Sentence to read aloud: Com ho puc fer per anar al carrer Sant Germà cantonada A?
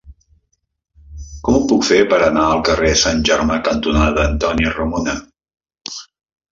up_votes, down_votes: 0, 2